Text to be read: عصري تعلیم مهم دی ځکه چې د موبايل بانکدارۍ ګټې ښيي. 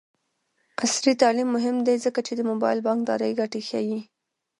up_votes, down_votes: 0, 2